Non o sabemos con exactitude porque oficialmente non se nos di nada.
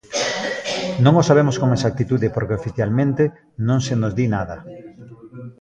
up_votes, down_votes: 2, 1